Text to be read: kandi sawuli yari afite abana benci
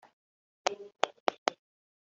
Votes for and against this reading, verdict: 1, 2, rejected